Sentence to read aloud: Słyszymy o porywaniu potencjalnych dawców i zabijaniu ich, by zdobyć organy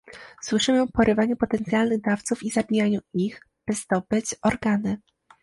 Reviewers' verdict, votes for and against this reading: accepted, 2, 0